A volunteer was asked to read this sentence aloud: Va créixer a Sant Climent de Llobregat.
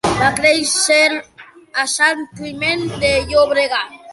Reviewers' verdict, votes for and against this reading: rejected, 0, 2